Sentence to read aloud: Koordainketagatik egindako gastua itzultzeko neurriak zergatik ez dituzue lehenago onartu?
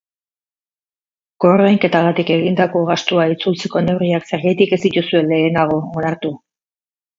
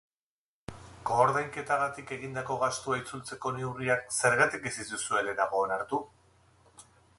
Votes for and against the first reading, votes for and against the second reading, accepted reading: 0, 4, 2, 0, second